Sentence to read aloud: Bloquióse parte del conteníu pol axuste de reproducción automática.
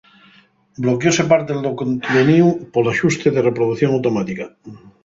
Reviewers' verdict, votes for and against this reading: rejected, 2, 2